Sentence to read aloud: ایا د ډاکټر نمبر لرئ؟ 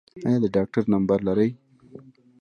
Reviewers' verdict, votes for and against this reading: rejected, 2, 3